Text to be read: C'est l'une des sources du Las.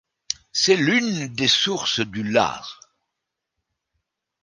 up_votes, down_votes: 1, 2